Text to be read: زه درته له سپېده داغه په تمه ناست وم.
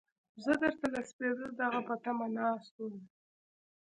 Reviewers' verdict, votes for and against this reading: accepted, 2, 0